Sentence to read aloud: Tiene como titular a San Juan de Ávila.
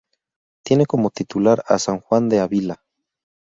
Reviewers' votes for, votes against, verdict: 2, 2, rejected